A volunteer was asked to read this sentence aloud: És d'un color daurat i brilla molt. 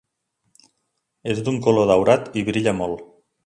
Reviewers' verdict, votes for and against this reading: accepted, 3, 0